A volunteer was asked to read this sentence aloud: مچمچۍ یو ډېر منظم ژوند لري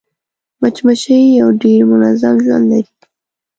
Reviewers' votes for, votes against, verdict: 2, 0, accepted